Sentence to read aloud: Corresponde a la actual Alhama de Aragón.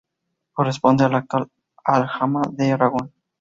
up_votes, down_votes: 2, 0